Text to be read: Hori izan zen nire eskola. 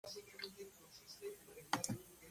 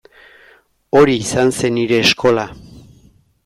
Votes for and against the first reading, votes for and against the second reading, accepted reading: 0, 2, 2, 0, second